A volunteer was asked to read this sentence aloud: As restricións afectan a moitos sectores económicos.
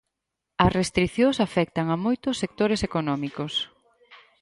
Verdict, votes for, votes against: accepted, 4, 0